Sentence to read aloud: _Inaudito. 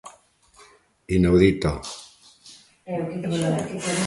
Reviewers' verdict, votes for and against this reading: rejected, 0, 2